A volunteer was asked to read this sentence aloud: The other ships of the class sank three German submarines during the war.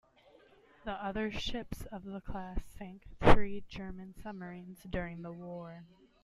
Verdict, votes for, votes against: accepted, 2, 0